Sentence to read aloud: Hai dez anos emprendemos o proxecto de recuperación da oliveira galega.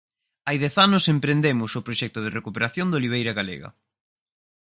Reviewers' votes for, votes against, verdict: 4, 0, accepted